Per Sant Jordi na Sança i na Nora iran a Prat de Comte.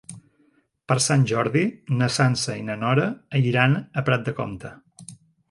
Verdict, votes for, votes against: rejected, 1, 2